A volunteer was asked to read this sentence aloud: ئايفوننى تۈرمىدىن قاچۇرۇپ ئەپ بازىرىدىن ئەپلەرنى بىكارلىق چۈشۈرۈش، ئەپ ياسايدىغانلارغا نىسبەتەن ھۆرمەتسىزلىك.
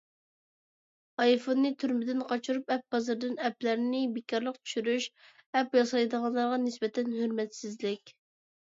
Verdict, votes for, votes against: accepted, 2, 0